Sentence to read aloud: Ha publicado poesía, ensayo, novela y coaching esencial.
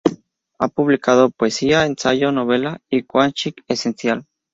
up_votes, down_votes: 2, 0